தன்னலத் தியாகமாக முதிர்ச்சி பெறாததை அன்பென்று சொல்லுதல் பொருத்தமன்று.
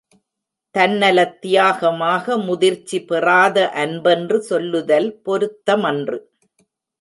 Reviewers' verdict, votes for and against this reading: rejected, 1, 2